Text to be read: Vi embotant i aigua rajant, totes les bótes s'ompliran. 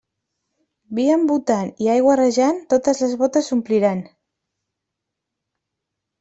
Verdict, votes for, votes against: rejected, 0, 2